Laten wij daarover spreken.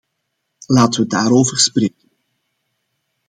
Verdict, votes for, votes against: rejected, 0, 2